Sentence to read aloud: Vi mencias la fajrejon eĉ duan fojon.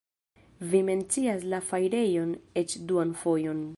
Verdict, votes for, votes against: accepted, 2, 0